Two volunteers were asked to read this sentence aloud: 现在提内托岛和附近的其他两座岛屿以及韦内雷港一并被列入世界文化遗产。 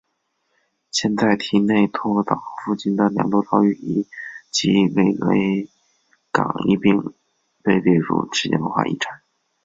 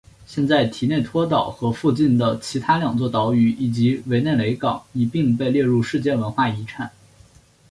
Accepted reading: second